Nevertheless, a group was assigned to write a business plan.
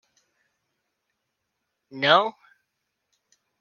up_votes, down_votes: 0, 2